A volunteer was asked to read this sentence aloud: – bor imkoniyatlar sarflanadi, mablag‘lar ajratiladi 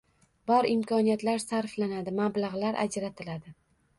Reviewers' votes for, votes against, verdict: 2, 0, accepted